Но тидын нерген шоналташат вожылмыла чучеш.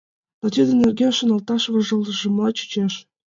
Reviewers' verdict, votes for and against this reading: rejected, 1, 2